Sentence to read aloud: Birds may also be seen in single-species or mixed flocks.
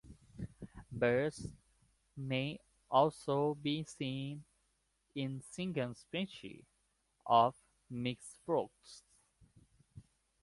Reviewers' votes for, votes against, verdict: 1, 2, rejected